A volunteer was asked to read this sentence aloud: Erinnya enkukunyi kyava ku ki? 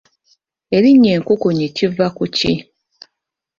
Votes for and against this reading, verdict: 1, 2, rejected